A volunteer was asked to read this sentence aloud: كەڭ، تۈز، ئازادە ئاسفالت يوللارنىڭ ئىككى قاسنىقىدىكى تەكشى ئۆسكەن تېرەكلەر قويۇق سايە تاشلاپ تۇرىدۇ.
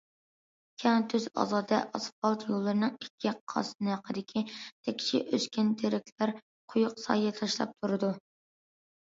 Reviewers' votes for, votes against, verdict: 1, 2, rejected